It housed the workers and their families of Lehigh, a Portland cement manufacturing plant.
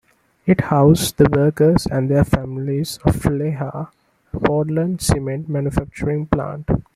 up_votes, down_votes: 2, 0